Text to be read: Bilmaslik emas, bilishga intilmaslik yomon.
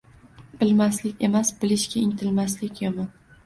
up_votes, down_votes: 2, 0